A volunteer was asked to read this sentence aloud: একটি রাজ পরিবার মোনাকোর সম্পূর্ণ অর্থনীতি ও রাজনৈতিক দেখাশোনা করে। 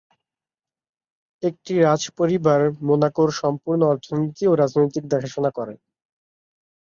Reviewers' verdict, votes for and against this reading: accepted, 3, 0